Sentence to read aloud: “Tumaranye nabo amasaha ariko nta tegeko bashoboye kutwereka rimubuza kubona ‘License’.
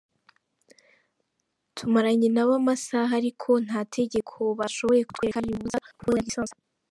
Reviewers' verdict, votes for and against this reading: rejected, 1, 3